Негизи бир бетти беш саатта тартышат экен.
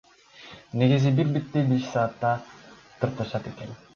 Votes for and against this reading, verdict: 0, 2, rejected